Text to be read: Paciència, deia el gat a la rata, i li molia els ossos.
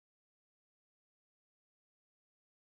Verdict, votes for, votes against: rejected, 1, 2